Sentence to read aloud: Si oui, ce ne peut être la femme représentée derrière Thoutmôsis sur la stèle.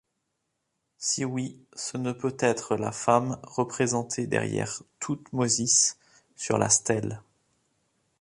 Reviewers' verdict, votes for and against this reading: accepted, 2, 0